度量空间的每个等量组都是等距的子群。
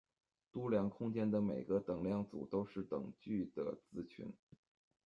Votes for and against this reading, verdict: 1, 2, rejected